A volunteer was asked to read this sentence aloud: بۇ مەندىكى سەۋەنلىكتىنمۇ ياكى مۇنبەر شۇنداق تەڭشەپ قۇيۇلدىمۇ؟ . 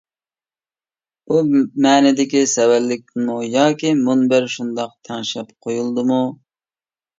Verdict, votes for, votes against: rejected, 0, 2